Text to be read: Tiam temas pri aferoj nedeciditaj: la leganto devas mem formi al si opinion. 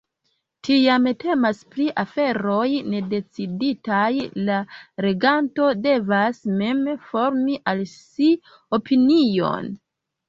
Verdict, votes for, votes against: rejected, 0, 2